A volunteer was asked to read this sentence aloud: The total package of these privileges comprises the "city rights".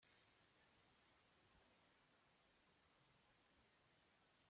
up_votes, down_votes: 0, 2